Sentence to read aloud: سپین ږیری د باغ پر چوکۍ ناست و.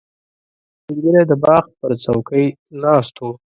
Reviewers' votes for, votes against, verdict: 2, 0, accepted